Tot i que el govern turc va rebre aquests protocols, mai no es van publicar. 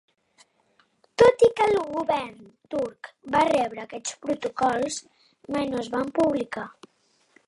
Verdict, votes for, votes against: accepted, 2, 0